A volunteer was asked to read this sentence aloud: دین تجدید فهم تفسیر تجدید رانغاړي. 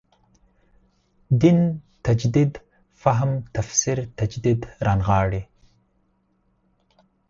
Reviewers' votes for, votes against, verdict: 4, 0, accepted